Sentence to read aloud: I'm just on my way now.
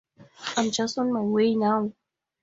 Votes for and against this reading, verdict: 2, 0, accepted